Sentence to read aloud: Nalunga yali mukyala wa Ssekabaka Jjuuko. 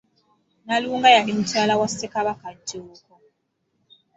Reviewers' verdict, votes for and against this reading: accepted, 2, 0